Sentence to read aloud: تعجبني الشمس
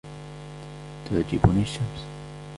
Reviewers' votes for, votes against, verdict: 2, 1, accepted